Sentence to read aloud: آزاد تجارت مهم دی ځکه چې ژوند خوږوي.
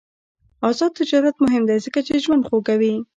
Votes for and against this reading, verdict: 1, 2, rejected